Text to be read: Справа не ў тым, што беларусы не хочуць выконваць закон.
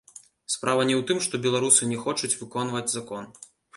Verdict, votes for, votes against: rejected, 1, 2